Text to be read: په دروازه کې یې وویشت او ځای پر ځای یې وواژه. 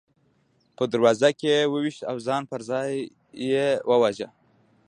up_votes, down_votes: 2, 0